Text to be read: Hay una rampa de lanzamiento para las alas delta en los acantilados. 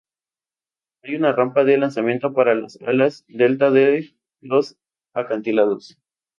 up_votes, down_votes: 0, 2